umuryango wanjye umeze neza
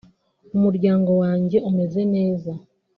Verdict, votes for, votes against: accepted, 2, 0